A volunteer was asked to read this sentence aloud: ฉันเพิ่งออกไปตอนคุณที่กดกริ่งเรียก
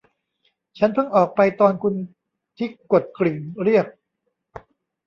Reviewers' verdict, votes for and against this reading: rejected, 1, 2